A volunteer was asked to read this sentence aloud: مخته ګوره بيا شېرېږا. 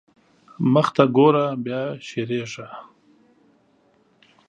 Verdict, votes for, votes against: accepted, 2, 0